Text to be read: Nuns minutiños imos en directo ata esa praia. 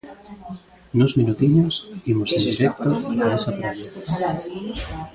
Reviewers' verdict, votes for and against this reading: rejected, 0, 2